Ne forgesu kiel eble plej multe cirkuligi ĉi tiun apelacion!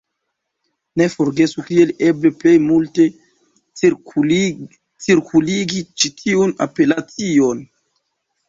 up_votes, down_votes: 1, 2